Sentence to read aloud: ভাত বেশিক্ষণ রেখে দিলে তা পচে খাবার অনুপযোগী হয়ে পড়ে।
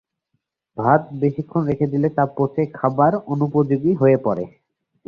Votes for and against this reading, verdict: 3, 0, accepted